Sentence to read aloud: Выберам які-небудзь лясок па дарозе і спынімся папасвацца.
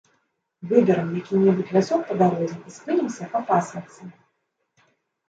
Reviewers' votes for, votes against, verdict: 0, 2, rejected